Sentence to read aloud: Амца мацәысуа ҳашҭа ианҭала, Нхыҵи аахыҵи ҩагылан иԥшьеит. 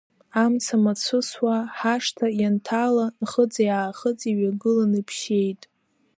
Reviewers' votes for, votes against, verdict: 2, 0, accepted